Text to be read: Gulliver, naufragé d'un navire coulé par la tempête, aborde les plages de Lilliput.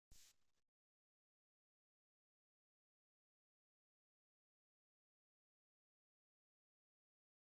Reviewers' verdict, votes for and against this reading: rejected, 0, 2